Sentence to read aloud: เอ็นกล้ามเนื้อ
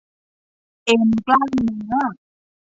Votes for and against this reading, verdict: 2, 0, accepted